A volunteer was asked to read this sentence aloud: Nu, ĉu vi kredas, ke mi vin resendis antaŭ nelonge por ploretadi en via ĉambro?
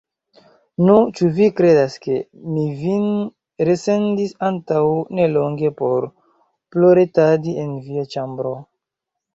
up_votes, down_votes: 1, 2